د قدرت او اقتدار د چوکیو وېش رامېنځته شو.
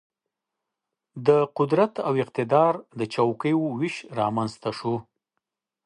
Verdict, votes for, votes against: accepted, 2, 0